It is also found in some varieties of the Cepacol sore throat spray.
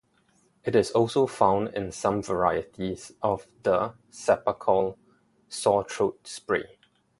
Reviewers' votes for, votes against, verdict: 0, 2, rejected